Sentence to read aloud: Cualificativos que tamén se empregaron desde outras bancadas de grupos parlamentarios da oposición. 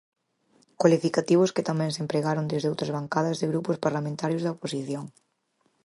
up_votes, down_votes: 4, 0